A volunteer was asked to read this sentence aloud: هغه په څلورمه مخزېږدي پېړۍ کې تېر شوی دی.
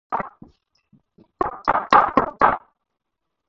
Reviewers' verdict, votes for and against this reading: rejected, 2, 4